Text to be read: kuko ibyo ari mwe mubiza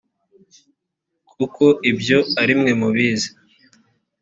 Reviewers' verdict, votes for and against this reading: rejected, 0, 2